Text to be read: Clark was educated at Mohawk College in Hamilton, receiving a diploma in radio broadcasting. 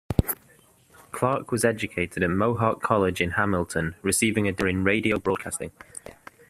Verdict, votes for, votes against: rejected, 0, 2